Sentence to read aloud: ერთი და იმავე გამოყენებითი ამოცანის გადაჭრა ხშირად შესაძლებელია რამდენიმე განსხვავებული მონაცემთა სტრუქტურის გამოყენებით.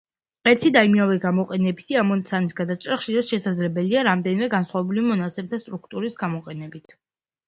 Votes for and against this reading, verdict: 2, 0, accepted